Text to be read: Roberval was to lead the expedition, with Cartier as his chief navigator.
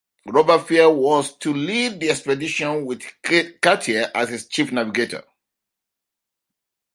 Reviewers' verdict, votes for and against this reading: accepted, 2, 1